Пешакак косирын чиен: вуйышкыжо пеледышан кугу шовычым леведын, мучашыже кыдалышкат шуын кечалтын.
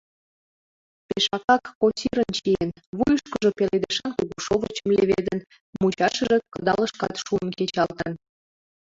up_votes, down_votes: 1, 3